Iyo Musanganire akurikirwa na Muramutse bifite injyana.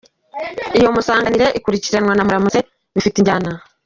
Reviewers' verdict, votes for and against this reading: accepted, 2, 1